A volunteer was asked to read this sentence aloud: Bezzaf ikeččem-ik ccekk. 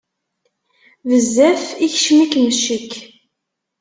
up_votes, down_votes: 2, 1